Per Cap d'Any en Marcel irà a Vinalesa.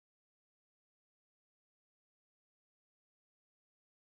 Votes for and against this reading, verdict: 1, 2, rejected